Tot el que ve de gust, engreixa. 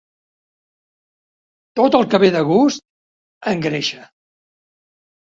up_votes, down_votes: 2, 0